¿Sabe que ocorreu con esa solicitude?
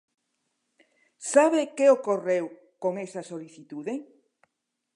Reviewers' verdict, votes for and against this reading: accepted, 2, 0